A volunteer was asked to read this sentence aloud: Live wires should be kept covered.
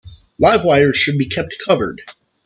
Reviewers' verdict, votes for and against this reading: accepted, 3, 0